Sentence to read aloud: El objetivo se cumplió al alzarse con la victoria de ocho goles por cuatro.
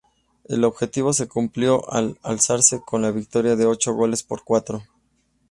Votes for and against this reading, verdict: 4, 0, accepted